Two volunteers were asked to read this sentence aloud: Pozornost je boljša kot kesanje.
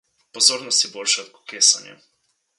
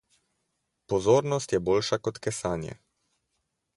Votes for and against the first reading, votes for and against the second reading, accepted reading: 0, 2, 4, 0, second